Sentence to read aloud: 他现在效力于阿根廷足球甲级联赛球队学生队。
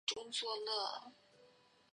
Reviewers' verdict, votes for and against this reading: rejected, 0, 2